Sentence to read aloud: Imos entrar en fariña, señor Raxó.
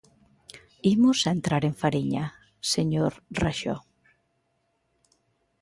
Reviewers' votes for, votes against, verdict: 2, 0, accepted